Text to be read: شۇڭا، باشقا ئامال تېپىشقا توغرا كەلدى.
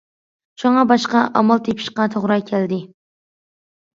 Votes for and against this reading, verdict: 2, 0, accepted